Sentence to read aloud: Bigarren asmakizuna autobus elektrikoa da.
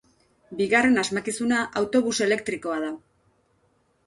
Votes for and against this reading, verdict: 2, 0, accepted